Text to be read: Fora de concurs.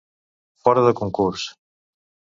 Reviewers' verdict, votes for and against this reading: accepted, 2, 0